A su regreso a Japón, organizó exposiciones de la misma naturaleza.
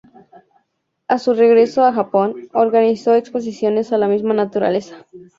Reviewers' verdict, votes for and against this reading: rejected, 2, 2